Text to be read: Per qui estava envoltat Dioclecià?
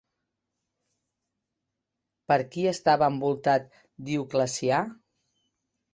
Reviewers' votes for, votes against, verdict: 2, 0, accepted